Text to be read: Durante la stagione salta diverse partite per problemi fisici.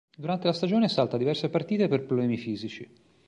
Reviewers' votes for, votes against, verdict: 3, 0, accepted